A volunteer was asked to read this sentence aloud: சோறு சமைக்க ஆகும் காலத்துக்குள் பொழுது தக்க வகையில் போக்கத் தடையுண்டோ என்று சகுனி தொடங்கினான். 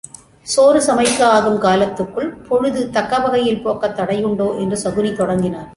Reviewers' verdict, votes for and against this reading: accepted, 2, 0